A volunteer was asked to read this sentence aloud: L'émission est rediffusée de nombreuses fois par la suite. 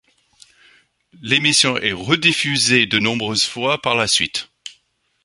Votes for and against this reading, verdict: 2, 0, accepted